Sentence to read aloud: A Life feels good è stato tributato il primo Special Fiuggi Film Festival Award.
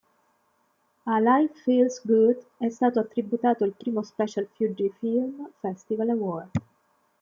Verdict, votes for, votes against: accepted, 2, 0